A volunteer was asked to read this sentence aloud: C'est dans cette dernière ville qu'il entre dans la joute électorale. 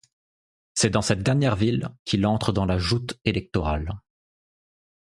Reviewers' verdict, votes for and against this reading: accepted, 2, 0